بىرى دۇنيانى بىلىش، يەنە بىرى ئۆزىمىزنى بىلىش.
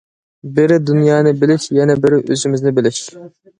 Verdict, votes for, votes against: accepted, 2, 0